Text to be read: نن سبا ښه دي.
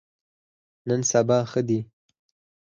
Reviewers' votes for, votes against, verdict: 2, 4, rejected